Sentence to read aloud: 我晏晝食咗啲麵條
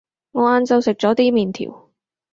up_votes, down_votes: 4, 0